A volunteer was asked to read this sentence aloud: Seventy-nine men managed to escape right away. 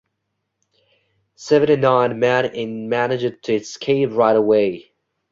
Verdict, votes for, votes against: rejected, 1, 2